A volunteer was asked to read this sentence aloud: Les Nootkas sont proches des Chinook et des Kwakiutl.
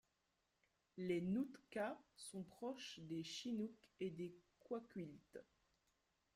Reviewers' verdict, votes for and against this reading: rejected, 0, 2